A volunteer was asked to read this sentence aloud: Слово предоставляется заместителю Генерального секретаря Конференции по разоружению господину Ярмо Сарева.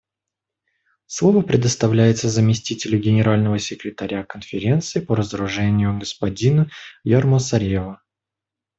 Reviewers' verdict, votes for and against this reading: accepted, 2, 1